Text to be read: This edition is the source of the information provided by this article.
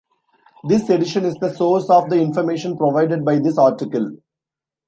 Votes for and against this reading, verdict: 2, 0, accepted